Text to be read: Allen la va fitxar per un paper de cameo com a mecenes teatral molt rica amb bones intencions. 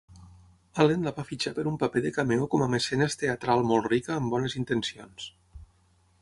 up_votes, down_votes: 6, 0